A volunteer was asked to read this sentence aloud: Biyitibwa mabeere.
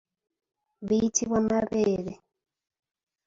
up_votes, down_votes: 3, 0